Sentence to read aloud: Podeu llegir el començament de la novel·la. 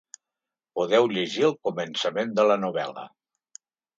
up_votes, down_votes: 2, 0